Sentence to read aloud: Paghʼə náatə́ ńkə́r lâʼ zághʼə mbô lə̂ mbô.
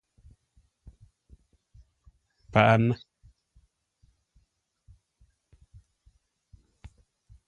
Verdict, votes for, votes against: rejected, 1, 2